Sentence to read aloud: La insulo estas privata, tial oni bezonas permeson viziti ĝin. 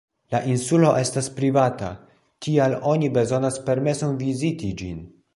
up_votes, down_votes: 1, 2